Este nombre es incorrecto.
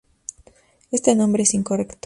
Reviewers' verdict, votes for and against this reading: accepted, 4, 0